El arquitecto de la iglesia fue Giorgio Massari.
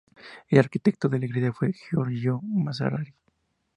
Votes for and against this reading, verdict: 4, 2, accepted